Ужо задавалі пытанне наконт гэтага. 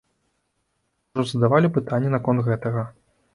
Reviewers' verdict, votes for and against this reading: rejected, 1, 2